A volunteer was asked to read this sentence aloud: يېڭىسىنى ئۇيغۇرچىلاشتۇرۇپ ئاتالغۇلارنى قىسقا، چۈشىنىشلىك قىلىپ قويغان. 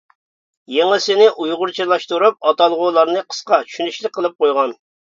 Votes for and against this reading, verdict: 2, 0, accepted